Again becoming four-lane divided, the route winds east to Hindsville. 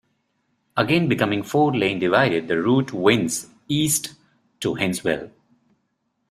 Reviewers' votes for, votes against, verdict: 1, 2, rejected